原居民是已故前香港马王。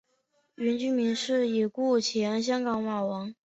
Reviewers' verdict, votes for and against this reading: accepted, 2, 0